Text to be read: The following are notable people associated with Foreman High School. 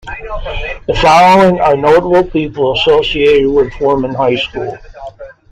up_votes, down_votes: 2, 0